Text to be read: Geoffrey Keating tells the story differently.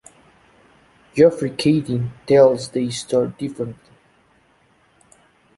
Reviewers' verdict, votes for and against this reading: rejected, 0, 2